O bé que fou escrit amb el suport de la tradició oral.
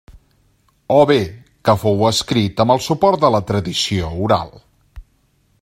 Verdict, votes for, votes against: accepted, 2, 0